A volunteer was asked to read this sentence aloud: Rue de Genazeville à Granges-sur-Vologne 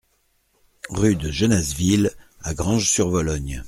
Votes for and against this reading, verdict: 2, 0, accepted